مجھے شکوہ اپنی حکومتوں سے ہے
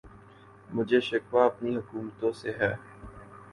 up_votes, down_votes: 2, 0